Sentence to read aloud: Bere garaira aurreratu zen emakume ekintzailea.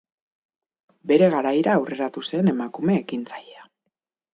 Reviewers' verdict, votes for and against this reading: rejected, 2, 2